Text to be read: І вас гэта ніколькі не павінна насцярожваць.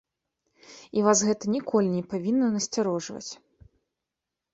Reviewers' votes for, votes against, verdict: 1, 2, rejected